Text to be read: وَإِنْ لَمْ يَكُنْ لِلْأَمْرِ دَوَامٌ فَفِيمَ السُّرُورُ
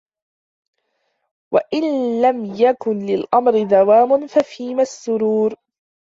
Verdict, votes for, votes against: accepted, 2, 0